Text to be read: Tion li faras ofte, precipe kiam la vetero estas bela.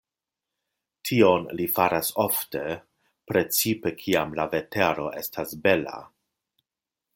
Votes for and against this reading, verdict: 2, 0, accepted